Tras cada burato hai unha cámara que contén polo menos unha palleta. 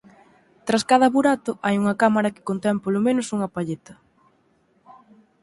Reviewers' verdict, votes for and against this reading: accepted, 4, 0